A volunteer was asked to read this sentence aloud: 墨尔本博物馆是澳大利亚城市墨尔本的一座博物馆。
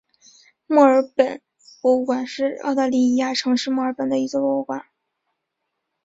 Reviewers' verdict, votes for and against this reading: accepted, 2, 0